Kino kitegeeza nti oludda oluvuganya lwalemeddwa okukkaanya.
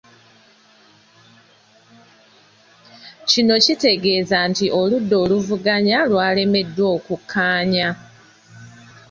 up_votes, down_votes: 2, 0